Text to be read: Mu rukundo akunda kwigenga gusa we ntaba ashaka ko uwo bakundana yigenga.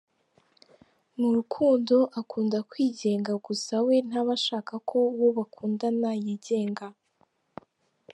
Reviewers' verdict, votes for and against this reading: accepted, 2, 0